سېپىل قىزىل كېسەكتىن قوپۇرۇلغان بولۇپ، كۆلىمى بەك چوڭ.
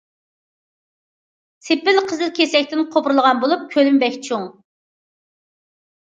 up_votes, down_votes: 2, 0